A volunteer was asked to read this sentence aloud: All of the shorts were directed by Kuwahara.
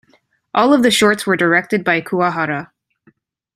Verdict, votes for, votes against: accepted, 2, 0